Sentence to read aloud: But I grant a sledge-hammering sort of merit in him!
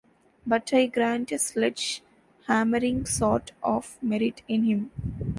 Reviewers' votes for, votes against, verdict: 1, 2, rejected